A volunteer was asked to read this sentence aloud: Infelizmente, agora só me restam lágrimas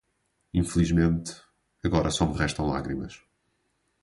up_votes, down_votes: 2, 2